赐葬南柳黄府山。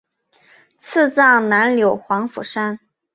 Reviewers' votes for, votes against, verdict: 4, 0, accepted